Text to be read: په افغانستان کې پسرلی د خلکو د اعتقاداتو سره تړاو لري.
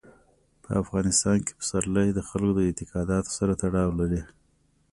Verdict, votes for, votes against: accepted, 2, 0